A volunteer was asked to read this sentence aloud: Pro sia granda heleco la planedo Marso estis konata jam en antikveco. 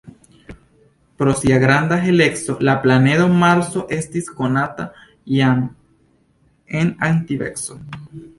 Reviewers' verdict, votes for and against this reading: accepted, 2, 0